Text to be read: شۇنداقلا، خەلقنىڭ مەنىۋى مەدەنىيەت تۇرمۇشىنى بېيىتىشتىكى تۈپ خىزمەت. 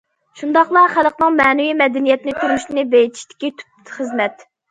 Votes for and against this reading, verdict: 0, 2, rejected